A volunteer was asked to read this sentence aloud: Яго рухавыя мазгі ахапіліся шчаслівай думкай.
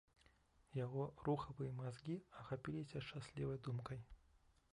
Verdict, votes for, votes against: rejected, 1, 2